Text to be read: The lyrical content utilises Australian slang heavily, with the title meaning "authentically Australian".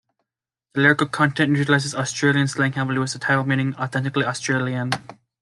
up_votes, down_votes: 1, 2